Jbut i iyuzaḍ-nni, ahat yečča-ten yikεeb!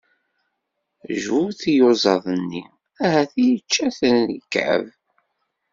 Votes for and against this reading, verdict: 1, 2, rejected